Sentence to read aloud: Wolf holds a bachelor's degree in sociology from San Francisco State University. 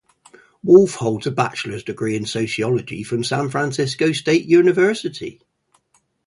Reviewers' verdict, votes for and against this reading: rejected, 0, 2